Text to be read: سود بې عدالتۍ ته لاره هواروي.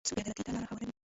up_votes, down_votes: 0, 2